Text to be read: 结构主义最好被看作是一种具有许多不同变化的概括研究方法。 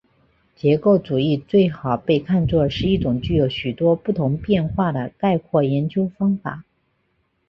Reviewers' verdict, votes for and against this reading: accepted, 2, 0